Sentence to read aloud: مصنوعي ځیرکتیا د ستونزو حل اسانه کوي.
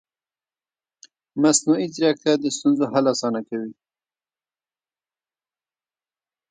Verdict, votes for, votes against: rejected, 1, 2